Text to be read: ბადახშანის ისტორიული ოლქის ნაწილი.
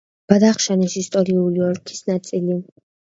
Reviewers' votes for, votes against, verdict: 2, 1, accepted